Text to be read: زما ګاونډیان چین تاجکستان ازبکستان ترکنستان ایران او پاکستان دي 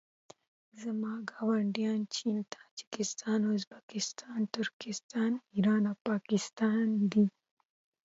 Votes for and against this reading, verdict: 0, 2, rejected